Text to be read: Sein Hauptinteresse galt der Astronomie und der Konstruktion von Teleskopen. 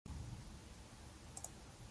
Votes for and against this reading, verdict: 0, 2, rejected